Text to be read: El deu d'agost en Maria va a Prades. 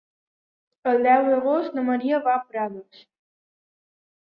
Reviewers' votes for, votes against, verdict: 0, 2, rejected